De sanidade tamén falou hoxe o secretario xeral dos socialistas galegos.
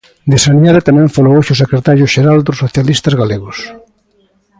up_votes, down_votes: 2, 0